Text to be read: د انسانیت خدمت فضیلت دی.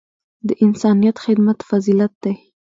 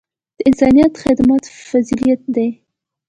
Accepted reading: first